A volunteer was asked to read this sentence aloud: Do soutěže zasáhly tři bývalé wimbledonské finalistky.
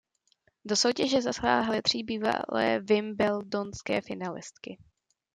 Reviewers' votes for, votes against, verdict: 0, 2, rejected